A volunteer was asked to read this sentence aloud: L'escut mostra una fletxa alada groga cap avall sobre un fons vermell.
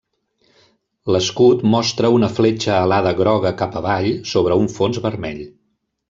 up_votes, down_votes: 3, 1